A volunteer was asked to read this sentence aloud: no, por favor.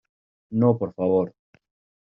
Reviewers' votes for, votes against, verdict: 2, 0, accepted